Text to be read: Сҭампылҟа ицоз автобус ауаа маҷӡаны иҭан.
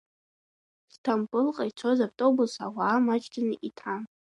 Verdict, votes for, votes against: accepted, 2, 0